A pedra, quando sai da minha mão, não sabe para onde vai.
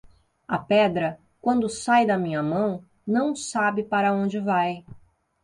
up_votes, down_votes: 2, 0